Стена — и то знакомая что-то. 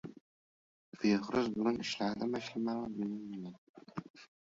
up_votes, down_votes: 0, 2